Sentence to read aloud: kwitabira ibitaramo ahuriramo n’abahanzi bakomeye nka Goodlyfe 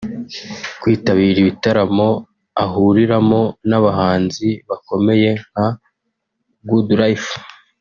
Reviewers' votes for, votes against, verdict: 3, 0, accepted